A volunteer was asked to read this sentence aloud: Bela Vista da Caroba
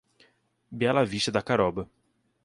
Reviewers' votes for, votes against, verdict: 2, 0, accepted